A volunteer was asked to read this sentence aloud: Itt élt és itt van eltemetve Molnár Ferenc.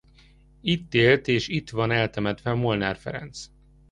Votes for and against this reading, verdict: 2, 0, accepted